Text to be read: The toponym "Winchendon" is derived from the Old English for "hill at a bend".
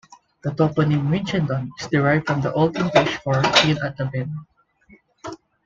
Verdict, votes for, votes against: rejected, 1, 2